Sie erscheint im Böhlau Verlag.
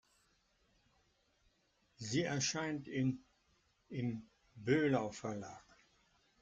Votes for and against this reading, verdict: 2, 1, accepted